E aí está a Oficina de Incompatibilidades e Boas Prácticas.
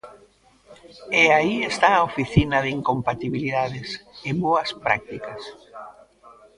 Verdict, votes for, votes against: accepted, 2, 0